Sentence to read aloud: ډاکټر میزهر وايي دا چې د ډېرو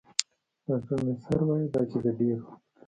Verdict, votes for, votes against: rejected, 1, 2